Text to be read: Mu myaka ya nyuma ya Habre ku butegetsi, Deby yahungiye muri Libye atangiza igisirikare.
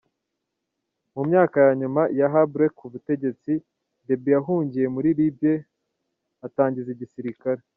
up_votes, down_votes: 2, 0